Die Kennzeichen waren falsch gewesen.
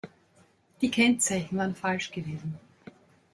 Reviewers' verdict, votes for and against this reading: accepted, 3, 0